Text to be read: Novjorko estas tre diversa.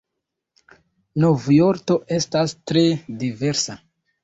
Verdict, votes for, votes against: rejected, 1, 2